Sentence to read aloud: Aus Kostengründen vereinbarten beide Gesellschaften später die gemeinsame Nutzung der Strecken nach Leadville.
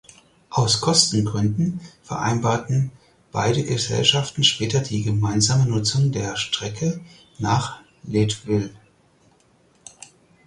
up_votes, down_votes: 0, 4